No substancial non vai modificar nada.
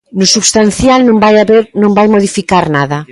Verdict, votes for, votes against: rejected, 0, 2